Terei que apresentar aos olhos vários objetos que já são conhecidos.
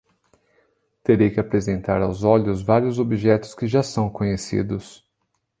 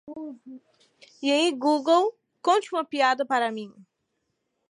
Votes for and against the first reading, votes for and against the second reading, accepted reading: 2, 0, 0, 2, first